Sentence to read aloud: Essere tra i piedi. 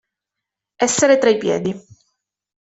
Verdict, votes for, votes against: accepted, 2, 0